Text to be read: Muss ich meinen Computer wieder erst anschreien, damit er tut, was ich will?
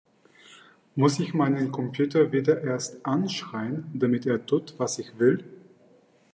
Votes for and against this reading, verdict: 2, 0, accepted